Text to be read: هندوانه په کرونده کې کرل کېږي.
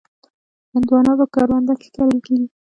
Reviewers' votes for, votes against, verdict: 3, 1, accepted